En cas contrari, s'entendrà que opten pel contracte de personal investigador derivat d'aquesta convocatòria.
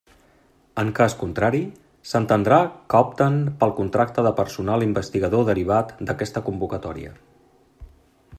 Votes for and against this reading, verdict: 3, 0, accepted